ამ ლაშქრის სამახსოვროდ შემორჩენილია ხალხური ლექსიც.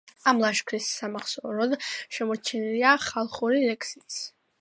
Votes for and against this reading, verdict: 2, 1, accepted